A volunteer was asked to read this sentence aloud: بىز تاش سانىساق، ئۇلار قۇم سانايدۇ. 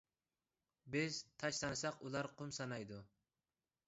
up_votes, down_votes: 2, 0